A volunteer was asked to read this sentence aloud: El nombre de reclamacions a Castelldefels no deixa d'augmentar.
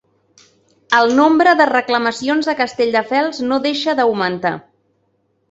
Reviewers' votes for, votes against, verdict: 3, 0, accepted